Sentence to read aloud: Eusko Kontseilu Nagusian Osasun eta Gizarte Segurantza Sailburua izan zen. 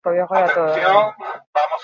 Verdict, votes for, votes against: rejected, 0, 4